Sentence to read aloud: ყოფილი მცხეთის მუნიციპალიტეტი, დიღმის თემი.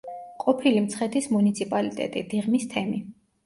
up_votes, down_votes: 1, 2